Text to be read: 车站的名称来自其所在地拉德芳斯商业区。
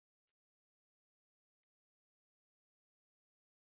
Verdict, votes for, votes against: rejected, 1, 3